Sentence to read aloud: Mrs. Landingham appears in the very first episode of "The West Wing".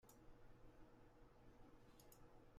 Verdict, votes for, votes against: rejected, 0, 2